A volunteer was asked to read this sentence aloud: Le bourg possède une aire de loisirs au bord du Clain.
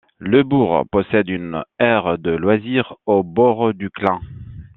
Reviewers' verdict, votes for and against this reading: accepted, 2, 1